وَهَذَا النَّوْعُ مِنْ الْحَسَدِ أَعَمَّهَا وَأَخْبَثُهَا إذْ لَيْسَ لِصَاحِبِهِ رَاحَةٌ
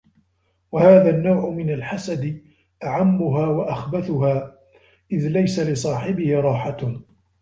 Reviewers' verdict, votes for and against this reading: accepted, 2, 0